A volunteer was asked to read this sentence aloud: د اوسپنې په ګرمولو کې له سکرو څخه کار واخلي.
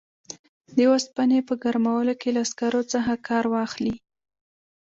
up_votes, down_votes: 2, 0